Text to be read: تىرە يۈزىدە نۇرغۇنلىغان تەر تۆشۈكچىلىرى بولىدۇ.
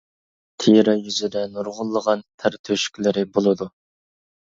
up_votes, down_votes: 0, 2